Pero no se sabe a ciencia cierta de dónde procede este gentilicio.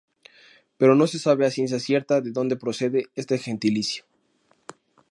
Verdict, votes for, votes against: accepted, 2, 0